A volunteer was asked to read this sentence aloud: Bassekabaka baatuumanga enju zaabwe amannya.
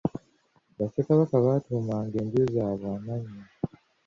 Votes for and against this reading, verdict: 2, 0, accepted